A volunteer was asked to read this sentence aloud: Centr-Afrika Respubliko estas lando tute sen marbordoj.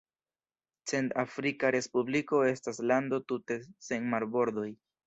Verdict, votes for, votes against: rejected, 1, 2